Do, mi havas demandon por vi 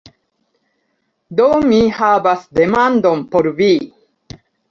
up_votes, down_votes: 2, 1